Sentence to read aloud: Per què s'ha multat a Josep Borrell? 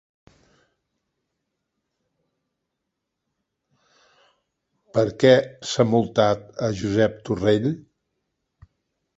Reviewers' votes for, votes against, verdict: 0, 3, rejected